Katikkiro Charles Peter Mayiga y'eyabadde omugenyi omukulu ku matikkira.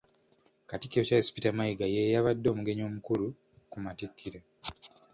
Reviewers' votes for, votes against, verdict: 2, 0, accepted